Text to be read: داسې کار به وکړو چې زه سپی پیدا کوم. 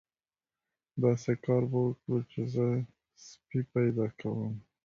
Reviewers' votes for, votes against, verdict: 1, 2, rejected